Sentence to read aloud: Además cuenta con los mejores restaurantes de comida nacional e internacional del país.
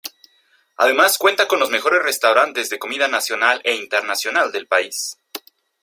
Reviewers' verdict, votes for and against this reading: accepted, 2, 0